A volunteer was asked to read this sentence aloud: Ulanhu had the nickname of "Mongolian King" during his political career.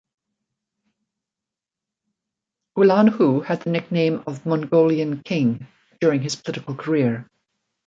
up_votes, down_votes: 2, 0